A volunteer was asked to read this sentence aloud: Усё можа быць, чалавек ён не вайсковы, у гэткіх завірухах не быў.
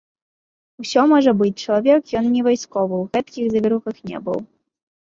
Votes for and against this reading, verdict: 2, 0, accepted